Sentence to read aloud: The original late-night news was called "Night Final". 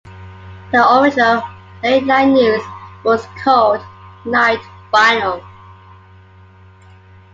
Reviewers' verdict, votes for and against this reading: accepted, 2, 1